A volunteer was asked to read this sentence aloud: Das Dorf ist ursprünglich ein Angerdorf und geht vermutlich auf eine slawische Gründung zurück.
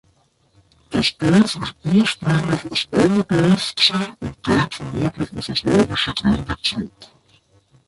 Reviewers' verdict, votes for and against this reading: rejected, 0, 2